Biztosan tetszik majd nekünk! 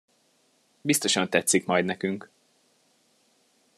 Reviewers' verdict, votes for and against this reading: accepted, 2, 0